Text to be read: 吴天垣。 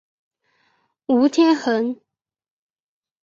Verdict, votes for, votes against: rejected, 1, 2